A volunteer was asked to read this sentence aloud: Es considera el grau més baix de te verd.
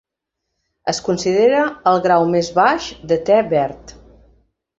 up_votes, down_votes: 2, 0